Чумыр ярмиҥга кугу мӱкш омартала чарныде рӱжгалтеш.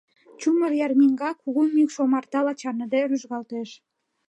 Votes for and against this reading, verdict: 2, 0, accepted